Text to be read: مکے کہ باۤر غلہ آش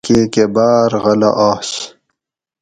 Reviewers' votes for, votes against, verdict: 2, 2, rejected